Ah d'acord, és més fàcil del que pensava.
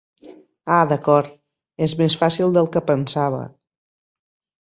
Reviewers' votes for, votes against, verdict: 6, 0, accepted